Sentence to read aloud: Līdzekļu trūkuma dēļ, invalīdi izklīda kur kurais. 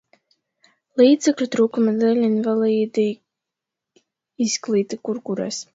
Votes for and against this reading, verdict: 2, 0, accepted